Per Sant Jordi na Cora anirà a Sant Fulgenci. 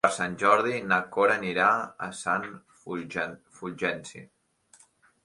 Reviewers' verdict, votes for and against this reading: rejected, 1, 2